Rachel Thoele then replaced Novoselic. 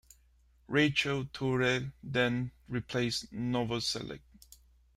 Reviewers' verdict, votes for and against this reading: accepted, 2, 1